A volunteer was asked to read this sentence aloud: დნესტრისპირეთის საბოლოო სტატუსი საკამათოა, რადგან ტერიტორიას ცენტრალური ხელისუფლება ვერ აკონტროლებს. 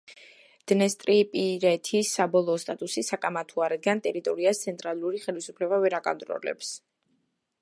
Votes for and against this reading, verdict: 0, 2, rejected